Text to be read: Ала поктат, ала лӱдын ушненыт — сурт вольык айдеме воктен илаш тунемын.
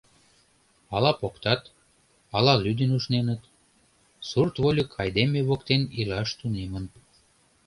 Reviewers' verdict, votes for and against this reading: accepted, 2, 0